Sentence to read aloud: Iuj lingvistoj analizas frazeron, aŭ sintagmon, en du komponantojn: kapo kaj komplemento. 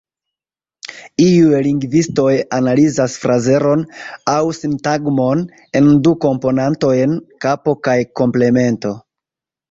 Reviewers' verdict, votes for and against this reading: rejected, 0, 2